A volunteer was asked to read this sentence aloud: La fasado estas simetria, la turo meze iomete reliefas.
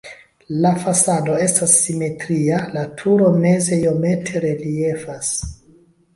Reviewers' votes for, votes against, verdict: 2, 0, accepted